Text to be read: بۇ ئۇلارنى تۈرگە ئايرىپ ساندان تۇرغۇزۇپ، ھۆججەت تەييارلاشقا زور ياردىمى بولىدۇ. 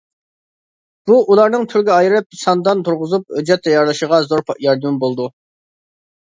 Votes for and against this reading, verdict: 0, 2, rejected